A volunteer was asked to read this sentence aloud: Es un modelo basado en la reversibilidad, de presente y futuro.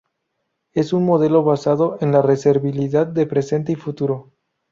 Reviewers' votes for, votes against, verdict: 0, 2, rejected